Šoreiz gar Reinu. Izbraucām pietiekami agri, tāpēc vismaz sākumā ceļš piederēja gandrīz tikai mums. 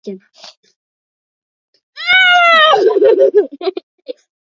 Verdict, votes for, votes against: rejected, 0, 2